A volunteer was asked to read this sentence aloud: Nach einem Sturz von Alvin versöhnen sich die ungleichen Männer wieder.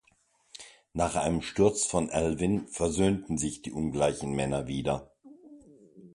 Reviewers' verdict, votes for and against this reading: accepted, 2, 0